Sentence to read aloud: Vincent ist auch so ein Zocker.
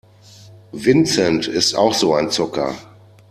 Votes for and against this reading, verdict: 2, 0, accepted